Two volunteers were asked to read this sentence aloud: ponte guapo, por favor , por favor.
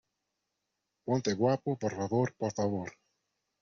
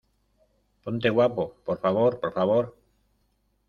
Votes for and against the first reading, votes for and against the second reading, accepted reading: 2, 0, 0, 2, first